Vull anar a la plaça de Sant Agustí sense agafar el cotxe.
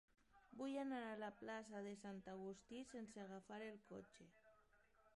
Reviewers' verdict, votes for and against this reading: rejected, 1, 2